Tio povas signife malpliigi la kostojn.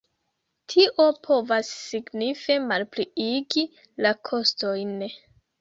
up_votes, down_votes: 2, 1